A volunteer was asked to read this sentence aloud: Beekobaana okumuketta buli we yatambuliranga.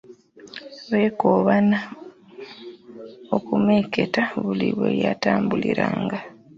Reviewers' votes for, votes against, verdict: 0, 2, rejected